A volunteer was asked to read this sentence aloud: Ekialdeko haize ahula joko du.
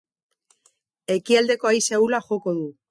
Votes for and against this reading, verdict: 2, 2, rejected